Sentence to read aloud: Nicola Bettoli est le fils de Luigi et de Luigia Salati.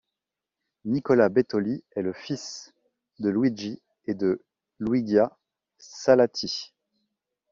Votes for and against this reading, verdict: 1, 2, rejected